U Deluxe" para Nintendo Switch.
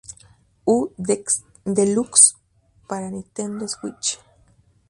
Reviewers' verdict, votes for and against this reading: rejected, 0, 4